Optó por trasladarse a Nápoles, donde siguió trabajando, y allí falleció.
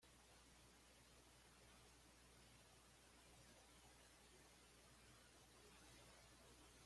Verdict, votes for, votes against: rejected, 1, 2